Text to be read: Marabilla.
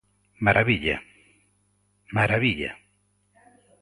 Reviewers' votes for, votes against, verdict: 0, 3, rejected